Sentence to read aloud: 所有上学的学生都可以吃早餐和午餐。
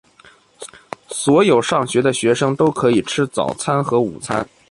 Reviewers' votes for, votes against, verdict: 3, 1, accepted